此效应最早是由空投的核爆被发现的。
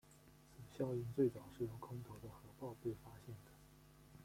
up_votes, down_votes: 0, 2